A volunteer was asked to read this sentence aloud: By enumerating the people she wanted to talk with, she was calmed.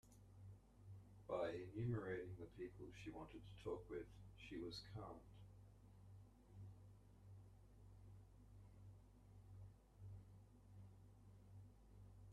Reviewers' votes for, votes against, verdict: 0, 2, rejected